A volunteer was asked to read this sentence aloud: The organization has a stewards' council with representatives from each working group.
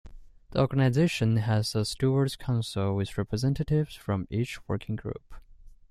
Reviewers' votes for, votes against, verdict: 2, 0, accepted